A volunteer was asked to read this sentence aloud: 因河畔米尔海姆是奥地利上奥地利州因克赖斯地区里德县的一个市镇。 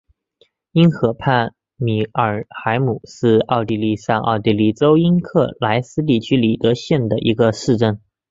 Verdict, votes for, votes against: accepted, 2, 0